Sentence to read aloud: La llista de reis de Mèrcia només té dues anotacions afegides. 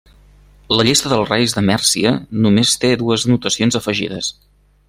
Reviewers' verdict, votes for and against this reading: rejected, 1, 2